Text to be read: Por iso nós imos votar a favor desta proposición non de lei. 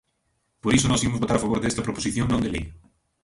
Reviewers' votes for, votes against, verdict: 0, 2, rejected